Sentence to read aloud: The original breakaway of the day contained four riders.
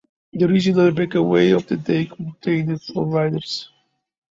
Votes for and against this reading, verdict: 2, 0, accepted